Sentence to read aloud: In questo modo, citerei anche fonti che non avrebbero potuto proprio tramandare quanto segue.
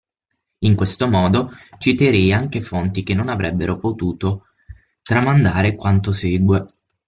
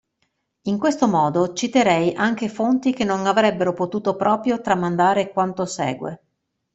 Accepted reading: second